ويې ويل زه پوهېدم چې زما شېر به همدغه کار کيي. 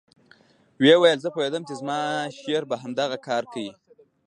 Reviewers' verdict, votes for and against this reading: accepted, 2, 0